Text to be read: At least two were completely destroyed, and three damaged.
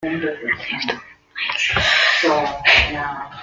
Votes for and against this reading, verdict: 0, 2, rejected